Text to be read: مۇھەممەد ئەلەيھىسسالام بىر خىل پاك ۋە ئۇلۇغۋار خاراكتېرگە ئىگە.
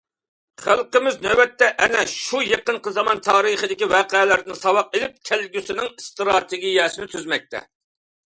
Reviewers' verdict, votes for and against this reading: rejected, 0, 2